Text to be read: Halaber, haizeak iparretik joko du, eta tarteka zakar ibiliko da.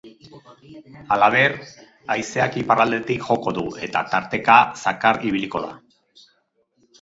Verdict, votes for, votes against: rejected, 0, 4